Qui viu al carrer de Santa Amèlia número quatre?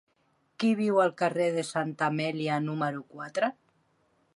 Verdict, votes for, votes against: accepted, 3, 0